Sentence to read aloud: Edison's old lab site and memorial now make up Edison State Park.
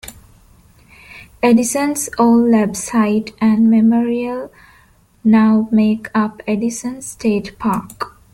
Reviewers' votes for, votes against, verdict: 2, 0, accepted